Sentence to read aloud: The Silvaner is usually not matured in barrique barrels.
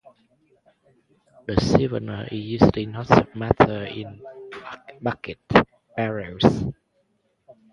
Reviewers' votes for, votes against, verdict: 0, 4, rejected